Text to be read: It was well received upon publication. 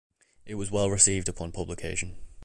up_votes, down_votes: 2, 0